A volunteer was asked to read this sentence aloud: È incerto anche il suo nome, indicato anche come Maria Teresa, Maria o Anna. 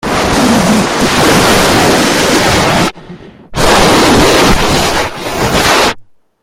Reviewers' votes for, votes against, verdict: 0, 2, rejected